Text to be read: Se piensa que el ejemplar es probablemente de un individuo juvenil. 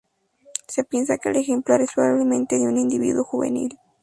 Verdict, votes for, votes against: accepted, 2, 0